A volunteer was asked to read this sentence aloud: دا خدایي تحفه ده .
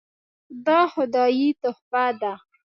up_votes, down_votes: 1, 2